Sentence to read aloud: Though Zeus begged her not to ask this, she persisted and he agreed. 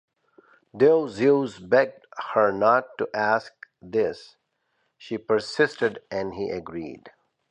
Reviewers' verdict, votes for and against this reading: accepted, 2, 0